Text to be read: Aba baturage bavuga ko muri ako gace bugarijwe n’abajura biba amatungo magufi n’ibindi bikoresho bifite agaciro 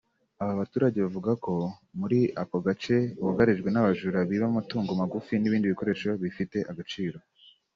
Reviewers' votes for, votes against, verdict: 2, 0, accepted